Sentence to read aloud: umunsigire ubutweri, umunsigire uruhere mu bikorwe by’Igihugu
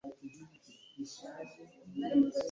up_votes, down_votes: 1, 2